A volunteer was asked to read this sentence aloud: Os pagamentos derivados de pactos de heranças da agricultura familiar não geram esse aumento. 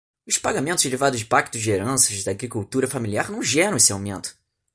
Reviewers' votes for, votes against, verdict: 2, 0, accepted